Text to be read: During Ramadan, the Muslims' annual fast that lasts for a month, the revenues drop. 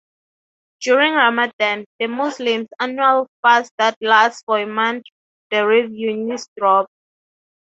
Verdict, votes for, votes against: accepted, 3, 0